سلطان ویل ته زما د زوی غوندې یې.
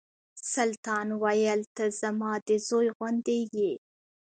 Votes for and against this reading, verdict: 1, 2, rejected